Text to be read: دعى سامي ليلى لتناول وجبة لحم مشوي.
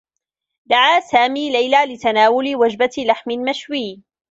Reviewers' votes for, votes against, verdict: 2, 0, accepted